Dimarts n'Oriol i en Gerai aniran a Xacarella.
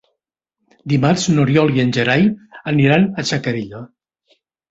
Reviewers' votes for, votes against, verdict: 2, 1, accepted